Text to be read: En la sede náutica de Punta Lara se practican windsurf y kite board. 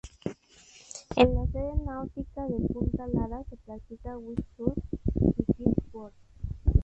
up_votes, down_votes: 0, 4